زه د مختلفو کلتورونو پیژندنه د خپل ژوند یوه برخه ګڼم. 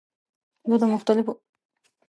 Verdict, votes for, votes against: rejected, 1, 2